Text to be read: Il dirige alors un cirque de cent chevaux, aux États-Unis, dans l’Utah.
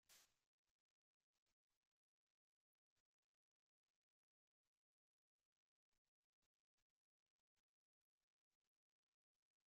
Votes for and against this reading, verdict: 0, 2, rejected